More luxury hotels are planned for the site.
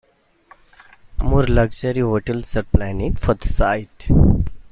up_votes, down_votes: 2, 0